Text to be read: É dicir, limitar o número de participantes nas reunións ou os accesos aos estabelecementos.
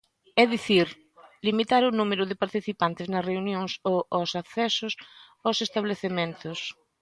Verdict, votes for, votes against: rejected, 0, 2